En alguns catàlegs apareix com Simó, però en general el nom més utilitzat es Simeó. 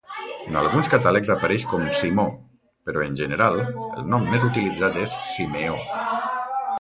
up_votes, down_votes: 1, 2